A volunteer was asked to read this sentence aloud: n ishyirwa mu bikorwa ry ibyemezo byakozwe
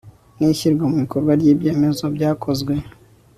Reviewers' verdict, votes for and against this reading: rejected, 2, 3